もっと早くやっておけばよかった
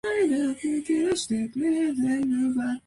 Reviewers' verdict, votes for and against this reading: rejected, 0, 2